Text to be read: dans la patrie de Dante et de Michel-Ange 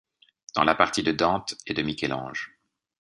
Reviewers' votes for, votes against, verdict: 2, 0, accepted